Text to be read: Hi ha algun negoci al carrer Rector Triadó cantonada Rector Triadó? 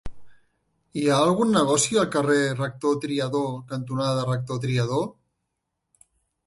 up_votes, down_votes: 2, 0